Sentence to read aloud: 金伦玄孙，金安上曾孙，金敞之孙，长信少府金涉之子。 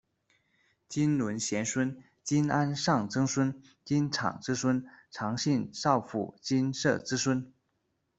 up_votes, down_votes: 1, 3